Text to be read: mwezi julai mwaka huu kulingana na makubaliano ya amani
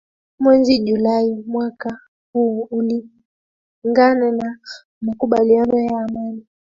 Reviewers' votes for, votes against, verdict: 2, 1, accepted